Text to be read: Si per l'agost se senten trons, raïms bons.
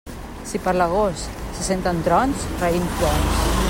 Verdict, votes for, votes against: rejected, 1, 2